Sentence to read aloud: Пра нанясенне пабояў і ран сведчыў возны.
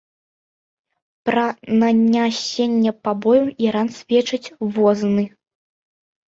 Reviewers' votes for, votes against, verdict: 0, 2, rejected